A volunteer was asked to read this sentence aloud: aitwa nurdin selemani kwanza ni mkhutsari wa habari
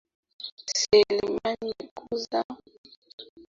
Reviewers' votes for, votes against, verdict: 0, 2, rejected